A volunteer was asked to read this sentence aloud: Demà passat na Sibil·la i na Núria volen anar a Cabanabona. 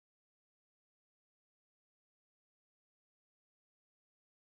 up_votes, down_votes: 0, 2